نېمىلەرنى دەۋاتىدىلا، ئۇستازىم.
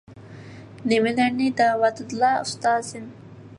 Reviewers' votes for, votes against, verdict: 2, 0, accepted